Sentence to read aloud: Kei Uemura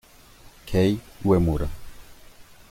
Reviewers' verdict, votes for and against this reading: rejected, 0, 2